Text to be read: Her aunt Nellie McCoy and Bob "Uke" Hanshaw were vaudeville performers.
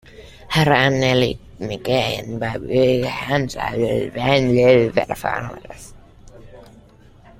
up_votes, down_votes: 0, 2